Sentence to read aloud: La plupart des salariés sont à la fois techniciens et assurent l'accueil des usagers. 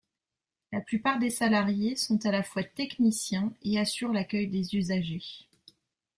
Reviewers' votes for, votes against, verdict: 2, 0, accepted